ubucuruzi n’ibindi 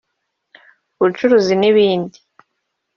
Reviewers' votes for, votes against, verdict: 1, 2, rejected